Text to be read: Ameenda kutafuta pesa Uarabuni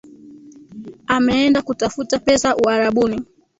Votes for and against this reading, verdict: 1, 2, rejected